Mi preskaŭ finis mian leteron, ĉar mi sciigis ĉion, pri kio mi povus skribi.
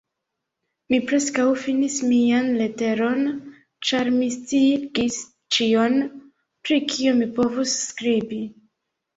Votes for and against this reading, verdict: 2, 1, accepted